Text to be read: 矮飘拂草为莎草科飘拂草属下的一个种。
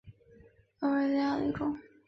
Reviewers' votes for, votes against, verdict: 1, 4, rejected